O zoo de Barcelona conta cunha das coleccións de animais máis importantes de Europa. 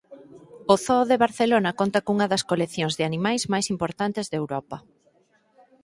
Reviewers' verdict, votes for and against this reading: accepted, 2, 0